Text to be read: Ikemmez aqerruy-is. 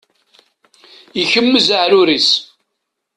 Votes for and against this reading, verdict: 1, 2, rejected